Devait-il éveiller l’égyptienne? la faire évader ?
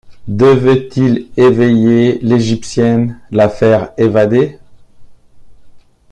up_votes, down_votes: 0, 2